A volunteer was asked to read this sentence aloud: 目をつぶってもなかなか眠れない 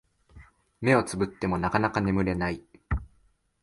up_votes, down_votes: 14, 0